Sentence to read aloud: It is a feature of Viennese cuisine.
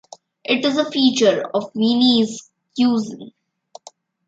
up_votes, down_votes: 1, 2